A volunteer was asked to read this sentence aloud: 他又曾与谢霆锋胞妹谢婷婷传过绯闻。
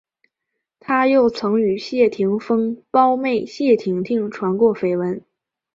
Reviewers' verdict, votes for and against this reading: rejected, 1, 2